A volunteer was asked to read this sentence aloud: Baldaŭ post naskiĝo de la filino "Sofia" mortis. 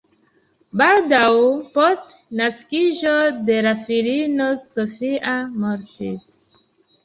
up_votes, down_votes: 2, 1